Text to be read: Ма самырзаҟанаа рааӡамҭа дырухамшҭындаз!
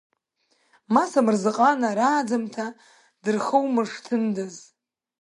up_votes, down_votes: 1, 2